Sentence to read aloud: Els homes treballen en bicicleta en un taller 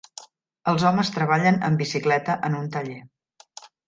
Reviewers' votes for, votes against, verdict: 3, 0, accepted